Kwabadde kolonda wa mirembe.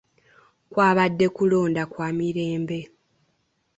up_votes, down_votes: 2, 3